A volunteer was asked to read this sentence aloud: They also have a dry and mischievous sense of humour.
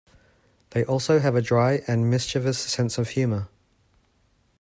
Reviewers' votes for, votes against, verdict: 2, 0, accepted